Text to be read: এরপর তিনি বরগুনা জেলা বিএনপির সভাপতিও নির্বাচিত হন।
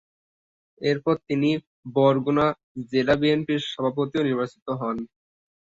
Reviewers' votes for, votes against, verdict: 0, 2, rejected